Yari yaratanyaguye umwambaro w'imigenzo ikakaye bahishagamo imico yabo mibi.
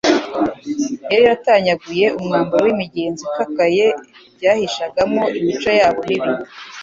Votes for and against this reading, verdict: 2, 0, accepted